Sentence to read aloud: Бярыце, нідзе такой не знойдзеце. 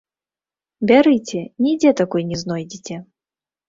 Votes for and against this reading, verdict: 1, 2, rejected